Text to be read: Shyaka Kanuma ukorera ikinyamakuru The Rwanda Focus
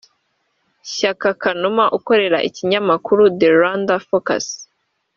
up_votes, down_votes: 0, 2